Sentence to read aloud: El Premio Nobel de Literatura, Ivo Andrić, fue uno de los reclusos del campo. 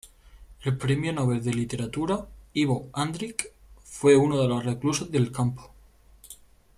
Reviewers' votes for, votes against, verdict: 2, 0, accepted